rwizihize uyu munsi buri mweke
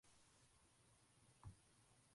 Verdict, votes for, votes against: rejected, 0, 2